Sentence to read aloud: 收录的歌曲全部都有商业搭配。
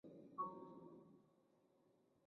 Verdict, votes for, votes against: rejected, 0, 2